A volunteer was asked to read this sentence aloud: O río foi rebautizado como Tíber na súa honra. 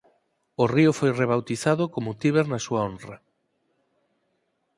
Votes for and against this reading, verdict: 4, 0, accepted